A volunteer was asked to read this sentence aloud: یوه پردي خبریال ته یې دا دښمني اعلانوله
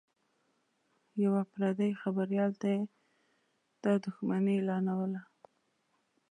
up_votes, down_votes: 1, 2